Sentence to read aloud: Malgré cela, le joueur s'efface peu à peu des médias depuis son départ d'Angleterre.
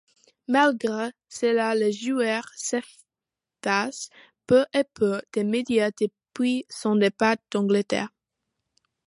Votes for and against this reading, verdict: 0, 2, rejected